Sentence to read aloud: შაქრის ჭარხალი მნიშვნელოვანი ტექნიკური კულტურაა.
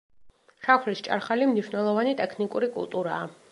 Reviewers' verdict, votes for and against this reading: accepted, 2, 0